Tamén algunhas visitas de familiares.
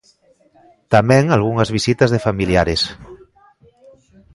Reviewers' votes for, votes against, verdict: 2, 1, accepted